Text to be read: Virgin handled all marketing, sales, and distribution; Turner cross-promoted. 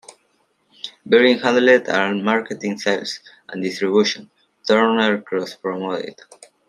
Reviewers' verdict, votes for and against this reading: rejected, 1, 2